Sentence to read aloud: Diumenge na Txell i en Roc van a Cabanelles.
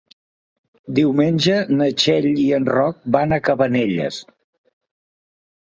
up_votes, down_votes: 3, 0